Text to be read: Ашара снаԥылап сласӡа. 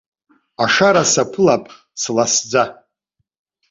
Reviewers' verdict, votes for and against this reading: accepted, 2, 0